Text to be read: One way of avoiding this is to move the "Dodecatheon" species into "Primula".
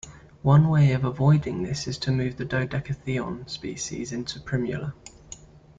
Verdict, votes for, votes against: accepted, 2, 0